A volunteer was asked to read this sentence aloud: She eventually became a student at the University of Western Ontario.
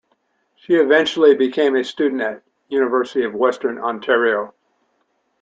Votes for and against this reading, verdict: 0, 2, rejected